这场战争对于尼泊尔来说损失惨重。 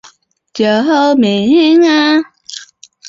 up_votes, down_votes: 1, 2